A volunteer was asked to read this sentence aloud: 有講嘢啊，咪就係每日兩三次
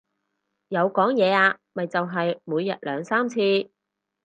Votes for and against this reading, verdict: 4, 0, accepted